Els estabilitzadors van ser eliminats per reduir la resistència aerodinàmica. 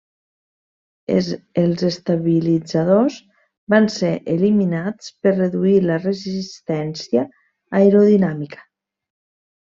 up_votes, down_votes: 0, 2